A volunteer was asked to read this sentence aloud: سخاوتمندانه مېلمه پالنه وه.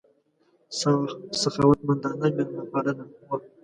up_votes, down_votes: 0, 2